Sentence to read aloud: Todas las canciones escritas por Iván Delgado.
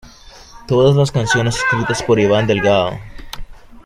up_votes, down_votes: 0, 2